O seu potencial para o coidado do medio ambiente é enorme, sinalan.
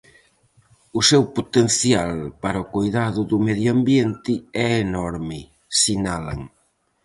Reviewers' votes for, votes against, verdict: 4, 0, accepted